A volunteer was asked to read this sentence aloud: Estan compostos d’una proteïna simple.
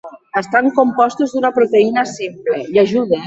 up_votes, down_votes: 1, 2